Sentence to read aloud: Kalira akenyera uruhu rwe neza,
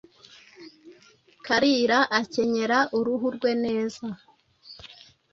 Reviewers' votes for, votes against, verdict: 2, 0, accepted